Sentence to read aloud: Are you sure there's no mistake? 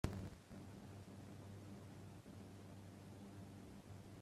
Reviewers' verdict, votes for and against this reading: rejected, 0, 3